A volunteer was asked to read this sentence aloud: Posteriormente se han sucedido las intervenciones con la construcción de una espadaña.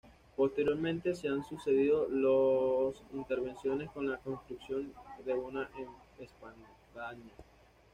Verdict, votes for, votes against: rejected, 1, 2